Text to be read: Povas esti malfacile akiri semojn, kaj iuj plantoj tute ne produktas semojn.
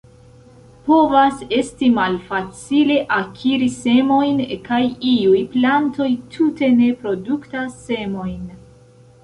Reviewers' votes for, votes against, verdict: 2, 0, accepted